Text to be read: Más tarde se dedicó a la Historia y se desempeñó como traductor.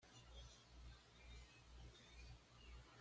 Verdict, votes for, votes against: rejected, 1, 2